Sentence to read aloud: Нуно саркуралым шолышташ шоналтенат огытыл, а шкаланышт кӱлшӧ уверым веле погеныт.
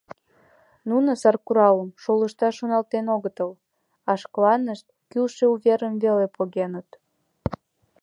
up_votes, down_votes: 2, 0